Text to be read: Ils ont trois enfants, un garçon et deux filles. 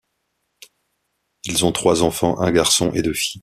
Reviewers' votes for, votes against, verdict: 2, 0, accepted